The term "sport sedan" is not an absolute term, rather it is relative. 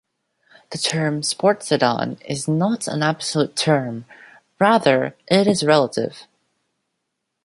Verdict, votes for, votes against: rejected, 1, 2